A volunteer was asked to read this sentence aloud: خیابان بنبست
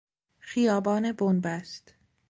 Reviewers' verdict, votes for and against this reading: accepted, 2, 0